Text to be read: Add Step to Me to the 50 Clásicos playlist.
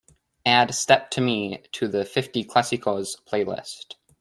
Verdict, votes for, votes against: rejected, 0, 2